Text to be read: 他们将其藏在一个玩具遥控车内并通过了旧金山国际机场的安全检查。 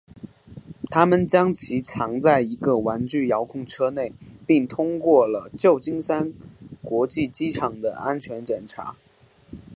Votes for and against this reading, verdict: 4, 0, accepted